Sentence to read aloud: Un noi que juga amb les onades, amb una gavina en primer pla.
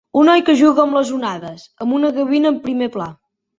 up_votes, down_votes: 3, 0